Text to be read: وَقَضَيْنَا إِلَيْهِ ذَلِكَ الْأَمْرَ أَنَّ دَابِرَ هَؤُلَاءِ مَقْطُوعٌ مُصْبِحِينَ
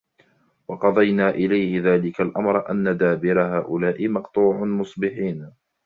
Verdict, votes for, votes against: rejected, 0, 2